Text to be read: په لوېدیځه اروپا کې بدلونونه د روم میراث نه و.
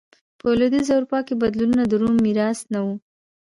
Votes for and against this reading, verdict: 0, 2, rejected